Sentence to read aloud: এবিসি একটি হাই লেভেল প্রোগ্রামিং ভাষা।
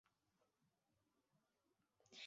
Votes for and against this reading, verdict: 0, 3, rejected